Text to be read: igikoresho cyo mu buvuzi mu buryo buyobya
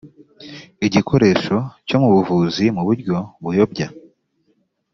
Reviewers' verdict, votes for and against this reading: accepted, 2, 0